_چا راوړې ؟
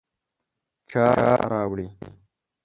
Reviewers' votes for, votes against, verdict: 0, 2, rejected